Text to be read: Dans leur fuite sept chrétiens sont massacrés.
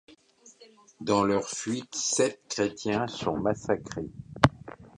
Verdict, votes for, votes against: accepted, 2, 0